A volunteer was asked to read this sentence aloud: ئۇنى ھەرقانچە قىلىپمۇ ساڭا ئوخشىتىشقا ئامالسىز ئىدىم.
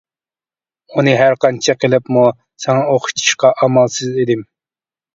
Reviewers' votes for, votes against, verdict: 2, 0, accepted